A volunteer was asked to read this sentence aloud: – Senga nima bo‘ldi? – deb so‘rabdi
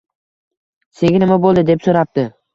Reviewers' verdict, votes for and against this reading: accepted, 2, 0